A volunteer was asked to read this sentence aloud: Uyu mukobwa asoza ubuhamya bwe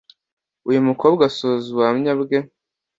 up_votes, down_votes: 2, 0